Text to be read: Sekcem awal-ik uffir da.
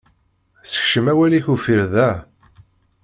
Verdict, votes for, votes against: accepted, 2, 0